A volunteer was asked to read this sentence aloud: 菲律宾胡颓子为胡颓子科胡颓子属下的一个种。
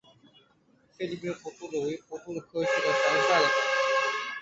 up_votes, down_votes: 0, 3